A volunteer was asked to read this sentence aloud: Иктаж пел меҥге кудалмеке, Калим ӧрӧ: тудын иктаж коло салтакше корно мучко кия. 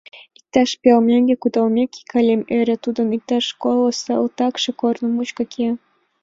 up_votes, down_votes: 2, 0